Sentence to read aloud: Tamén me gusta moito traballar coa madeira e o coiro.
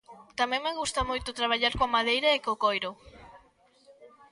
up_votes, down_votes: 0, 2